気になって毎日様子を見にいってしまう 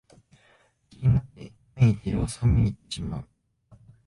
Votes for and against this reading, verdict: 1, 2, rejected